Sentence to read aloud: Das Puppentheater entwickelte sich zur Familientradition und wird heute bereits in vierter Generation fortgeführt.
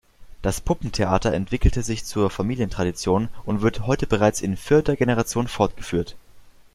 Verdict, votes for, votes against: accepted, 2, 0